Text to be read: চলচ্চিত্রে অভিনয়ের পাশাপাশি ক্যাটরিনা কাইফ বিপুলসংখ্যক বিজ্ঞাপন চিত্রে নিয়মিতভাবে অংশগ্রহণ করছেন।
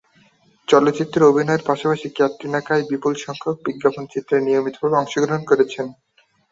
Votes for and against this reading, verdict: 6, 3, accepted